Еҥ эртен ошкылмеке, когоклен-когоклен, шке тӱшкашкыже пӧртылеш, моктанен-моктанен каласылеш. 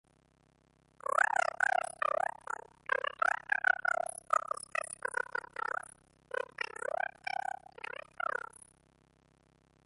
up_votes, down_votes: 0, 2